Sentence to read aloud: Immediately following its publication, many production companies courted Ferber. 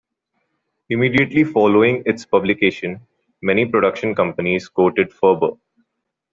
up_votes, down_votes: 2, 0